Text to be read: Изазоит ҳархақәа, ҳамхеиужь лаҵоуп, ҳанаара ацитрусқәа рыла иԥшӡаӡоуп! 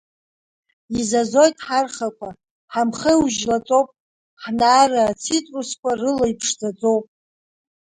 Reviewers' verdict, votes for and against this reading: rejected, 0, 3